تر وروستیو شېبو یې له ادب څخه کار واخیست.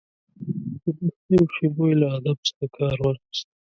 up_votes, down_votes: 1, 2